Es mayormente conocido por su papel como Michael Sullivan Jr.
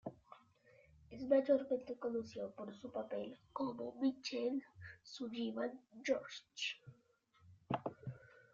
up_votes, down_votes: 0, 2